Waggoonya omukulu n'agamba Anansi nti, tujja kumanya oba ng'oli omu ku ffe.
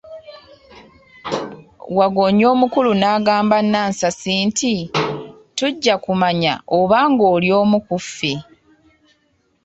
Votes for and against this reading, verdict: 2, 0, accepted